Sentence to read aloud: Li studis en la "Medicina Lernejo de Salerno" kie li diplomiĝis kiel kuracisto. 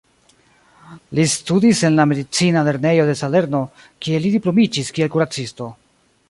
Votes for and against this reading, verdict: 2, 0, accepted